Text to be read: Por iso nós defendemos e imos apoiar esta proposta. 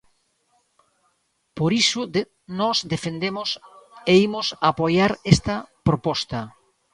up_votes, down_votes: 2, 1